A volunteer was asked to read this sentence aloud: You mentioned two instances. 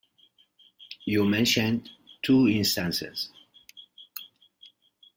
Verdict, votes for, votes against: accepted, 2, 0